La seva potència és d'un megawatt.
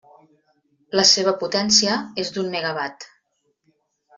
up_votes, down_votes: 3, 0